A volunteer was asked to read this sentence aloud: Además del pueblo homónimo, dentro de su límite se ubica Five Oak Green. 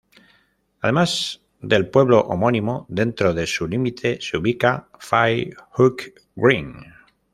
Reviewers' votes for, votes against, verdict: 0, 2, rejected